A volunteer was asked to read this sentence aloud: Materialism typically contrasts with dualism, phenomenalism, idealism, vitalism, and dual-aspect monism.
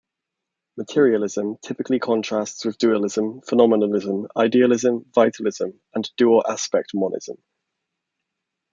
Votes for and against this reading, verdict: 2, 0, accepted